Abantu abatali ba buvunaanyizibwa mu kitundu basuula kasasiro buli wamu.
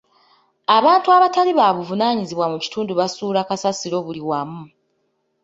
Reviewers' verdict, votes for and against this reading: rejected, 1, 2